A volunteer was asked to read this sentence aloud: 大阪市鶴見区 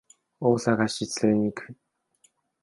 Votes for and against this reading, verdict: 2, 1, accepted